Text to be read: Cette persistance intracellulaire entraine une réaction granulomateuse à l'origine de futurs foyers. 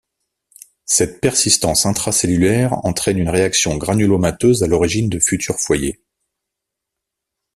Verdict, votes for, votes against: accepted, 2, 0